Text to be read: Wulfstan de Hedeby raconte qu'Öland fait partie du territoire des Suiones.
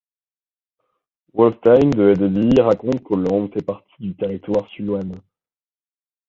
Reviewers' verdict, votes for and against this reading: rejected, 0, 2